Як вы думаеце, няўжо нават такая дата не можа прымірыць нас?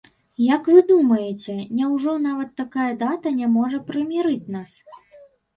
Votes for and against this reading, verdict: 2, 0, accepted